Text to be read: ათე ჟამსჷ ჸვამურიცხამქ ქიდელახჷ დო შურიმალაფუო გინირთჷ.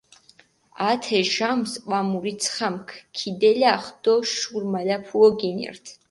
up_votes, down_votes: 4, 2